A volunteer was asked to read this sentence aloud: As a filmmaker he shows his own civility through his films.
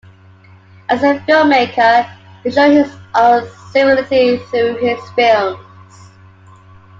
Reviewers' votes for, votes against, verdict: 0, 2, rejected